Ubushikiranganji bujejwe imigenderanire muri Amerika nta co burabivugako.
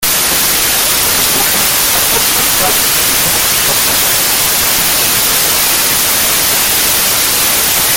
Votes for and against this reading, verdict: 0, 2, rejected